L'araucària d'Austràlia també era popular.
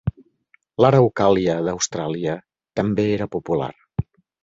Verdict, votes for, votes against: rejected, 0, 3